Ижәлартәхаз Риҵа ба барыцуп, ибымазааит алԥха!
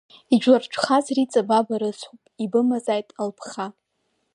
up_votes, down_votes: 1, 2